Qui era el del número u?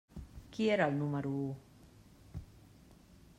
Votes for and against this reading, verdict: 1, 2, rejected